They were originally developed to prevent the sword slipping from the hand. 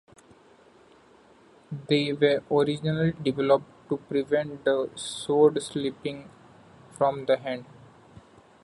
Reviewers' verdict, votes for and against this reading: rejected, 1, 2